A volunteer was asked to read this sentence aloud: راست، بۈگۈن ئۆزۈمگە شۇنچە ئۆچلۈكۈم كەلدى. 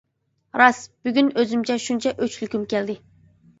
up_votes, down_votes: 1, 2